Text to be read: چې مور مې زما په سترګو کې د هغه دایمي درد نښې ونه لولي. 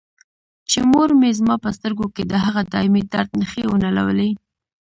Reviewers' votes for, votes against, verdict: 1, 2, rejected